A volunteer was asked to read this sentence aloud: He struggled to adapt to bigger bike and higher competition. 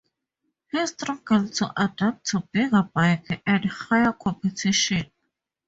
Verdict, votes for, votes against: accepted, 2, 0